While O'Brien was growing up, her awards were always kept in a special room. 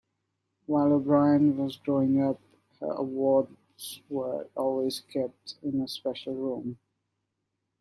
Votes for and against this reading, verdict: 1, 2, rejected